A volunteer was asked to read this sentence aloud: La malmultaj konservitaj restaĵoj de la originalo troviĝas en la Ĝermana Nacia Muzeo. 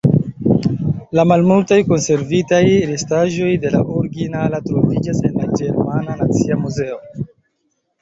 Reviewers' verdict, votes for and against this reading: rejected, 1, 2